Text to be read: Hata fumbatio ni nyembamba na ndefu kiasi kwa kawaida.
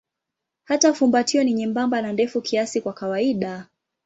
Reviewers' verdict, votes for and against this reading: accepted, 2, 0